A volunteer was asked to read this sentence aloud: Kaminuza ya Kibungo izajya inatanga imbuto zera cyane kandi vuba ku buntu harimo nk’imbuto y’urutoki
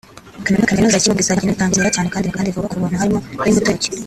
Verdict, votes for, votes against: rejected, 0, 2